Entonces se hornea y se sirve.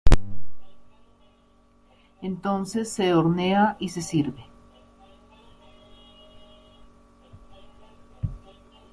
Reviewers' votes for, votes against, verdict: 2, 0, accepted